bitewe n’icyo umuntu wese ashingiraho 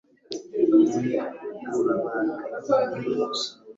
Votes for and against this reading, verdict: 0, 2, rejected